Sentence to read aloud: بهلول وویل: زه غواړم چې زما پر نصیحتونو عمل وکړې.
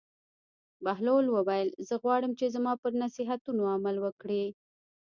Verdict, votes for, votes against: rejected, 0, 2